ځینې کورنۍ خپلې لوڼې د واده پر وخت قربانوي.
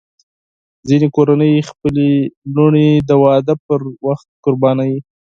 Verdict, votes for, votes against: accepted, 4, 2